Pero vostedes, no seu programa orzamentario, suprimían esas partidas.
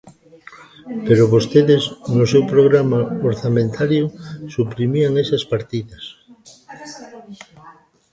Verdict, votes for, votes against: rejected, 1, 2